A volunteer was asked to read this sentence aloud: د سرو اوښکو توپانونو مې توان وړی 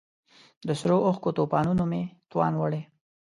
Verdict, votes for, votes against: accepted, 2, 0